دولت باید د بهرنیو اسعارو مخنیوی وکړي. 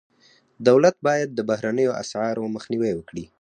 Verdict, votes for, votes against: accepted, 4, 0